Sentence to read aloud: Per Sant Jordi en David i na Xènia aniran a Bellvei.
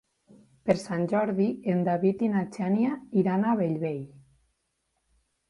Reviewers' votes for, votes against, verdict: 3, 4, rejected